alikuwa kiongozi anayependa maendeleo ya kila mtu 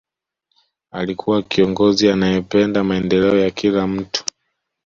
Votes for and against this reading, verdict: 2, 0, accepted